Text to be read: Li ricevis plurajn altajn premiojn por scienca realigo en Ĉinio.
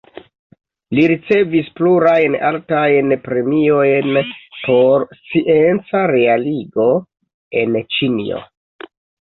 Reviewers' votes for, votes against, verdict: 0, 2, rejected